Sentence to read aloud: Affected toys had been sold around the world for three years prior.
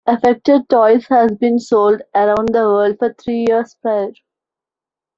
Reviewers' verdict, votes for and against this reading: rejected, 0, 2